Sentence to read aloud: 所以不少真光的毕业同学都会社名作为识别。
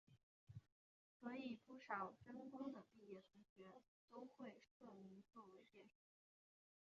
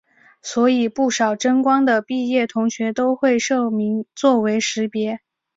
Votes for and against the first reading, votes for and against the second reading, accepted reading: 0, 2, 3, 1, second